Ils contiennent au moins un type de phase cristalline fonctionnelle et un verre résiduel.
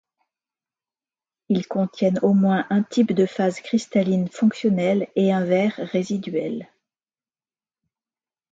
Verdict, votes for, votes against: accepted, 2, 0